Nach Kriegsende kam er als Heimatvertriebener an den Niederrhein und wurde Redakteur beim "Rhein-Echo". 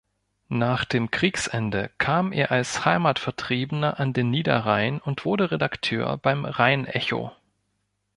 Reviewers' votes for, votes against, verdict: 0, 3, rejected